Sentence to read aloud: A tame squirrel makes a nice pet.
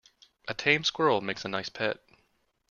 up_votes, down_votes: 2, 0